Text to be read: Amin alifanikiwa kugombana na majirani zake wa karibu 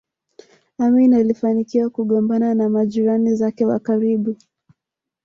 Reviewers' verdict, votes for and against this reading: accepted, 2, 1